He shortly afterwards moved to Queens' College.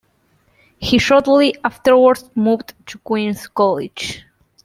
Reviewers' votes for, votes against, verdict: 2, 0, accepted